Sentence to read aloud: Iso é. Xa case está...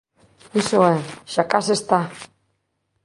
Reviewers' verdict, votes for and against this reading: accepted, 2, 0